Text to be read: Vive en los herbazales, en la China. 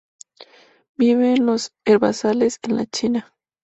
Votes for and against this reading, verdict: 2, 0, accepted